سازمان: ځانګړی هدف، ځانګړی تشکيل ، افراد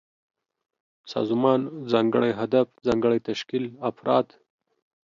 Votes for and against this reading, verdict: 2, 0, accepted